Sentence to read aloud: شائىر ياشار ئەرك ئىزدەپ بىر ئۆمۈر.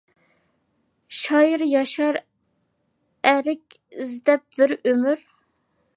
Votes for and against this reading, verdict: 2, 0, accepted